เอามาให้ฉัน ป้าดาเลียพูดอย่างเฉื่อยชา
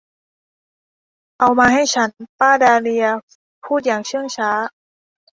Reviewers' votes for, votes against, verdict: 0, 2, rejected